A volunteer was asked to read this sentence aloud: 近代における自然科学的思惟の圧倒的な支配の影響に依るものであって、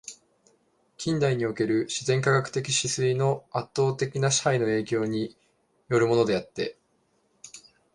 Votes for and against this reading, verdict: 0, 2, rejected